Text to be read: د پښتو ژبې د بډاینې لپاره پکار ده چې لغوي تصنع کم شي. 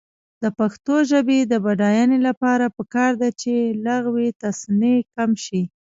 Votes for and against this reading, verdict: 1, 2, rejected